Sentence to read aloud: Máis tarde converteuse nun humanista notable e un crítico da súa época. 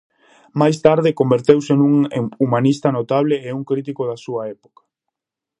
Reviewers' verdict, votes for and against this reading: rejected, 0, 2